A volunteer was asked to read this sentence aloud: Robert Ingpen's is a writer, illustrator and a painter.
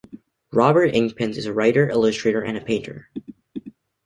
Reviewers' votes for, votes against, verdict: 2, 0, accepted